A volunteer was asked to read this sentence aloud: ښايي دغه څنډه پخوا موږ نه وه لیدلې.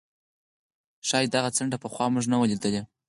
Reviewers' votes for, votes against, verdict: 4, 0, accepted